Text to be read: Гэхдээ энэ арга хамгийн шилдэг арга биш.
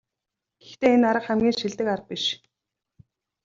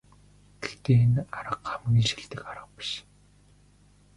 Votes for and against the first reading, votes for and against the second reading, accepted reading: 2, 0, 1, 2, first